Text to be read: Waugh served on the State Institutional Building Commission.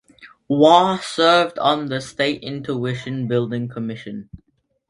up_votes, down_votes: 0, 2